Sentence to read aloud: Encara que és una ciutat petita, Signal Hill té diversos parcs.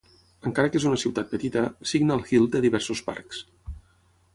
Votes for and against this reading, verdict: 6, 0, accepted